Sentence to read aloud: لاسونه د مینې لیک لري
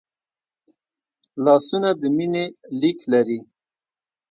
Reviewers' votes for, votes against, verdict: 1, 2, rejected